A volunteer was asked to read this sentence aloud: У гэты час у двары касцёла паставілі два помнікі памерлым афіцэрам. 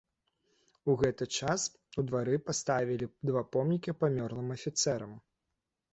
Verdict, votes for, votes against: rejected, 0, 2